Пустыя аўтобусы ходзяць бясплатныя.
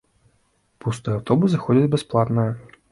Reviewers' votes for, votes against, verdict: 2, 1, accepted